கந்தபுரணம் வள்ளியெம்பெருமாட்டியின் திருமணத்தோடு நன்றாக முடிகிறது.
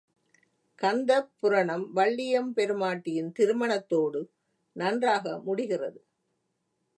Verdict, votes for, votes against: rejected, 1, 2